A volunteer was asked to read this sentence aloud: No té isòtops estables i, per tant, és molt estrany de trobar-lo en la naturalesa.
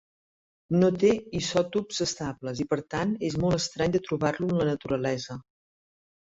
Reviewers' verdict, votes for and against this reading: accepted, 2, 0